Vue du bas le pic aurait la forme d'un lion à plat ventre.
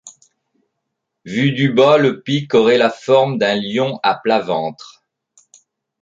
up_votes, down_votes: 2, 0